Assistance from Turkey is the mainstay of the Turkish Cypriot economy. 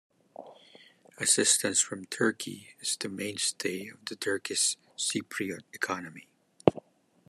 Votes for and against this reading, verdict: 2, 0, accepted